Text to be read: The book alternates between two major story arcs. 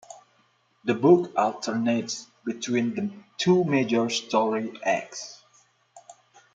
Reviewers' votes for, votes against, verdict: 0, 2, rejected